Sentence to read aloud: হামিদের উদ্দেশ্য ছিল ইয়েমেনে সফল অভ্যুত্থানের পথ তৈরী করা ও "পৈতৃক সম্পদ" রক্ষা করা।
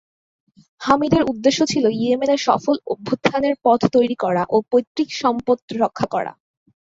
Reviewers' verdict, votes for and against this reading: accepted, 2, 0